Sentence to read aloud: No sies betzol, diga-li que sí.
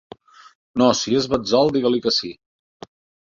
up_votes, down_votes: 1, 2